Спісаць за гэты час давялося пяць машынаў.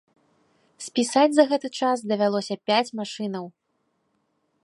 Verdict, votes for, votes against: accepted, 2, 0